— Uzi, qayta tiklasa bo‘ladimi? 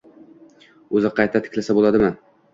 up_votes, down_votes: 2, 0